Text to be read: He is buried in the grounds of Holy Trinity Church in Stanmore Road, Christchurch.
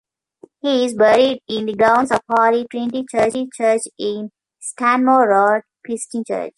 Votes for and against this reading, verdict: 1, 2, rejected